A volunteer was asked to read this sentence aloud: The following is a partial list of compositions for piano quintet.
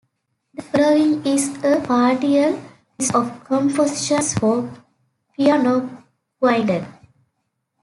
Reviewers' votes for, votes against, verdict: 0, 2, rejected